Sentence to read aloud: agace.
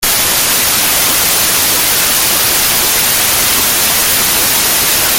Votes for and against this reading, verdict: 0, 2, rejected